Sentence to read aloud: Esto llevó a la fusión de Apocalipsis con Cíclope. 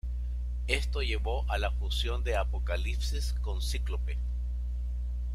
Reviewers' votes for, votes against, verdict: 2, 0, accepted